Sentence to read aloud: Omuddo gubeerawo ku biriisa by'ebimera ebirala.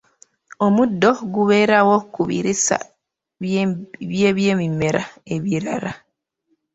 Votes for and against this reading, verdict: 1, 2, rejected